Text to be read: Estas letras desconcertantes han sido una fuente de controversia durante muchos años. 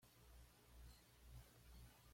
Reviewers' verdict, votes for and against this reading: rejected, 1, 2